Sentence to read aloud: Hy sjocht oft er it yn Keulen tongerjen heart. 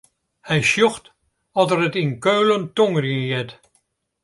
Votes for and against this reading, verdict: 2, 0, accepted